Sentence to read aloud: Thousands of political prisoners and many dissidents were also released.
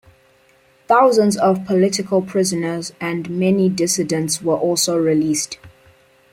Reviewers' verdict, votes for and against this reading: accepted, 2, 0